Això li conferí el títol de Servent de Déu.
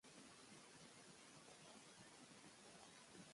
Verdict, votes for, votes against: rejected, 0, 2